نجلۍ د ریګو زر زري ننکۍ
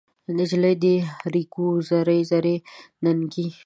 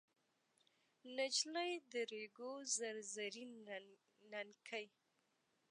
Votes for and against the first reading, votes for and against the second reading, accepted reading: 0, 2, 2, 0, second